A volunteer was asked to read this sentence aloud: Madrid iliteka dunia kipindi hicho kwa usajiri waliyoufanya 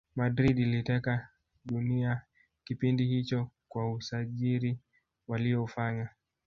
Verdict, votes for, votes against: rejected, 0, 2